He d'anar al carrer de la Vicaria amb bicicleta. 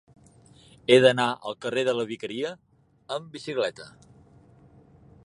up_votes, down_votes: 5, 0